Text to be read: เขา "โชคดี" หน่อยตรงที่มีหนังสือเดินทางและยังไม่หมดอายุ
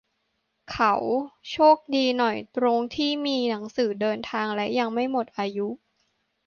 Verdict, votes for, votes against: accepted, 2, 0